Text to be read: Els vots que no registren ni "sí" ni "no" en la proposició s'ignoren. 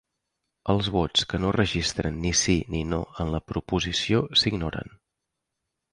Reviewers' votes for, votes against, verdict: 3, 0, accepted